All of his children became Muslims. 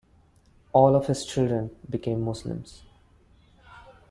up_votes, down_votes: 2, 0